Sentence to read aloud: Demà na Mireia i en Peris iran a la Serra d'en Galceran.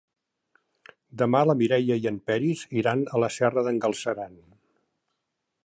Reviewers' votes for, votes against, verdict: 2, 3, rejected